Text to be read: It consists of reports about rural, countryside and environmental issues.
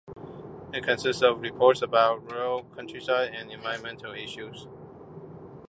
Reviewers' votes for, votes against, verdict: 2, 0, accepted